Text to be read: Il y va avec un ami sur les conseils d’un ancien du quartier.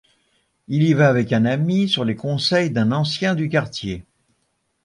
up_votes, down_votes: 2, 0